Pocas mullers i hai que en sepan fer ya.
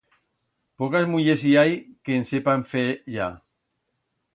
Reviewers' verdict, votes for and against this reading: accepted, 2, 0